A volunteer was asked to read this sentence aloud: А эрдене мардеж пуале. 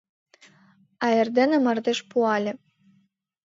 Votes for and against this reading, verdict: 2, 0, accepted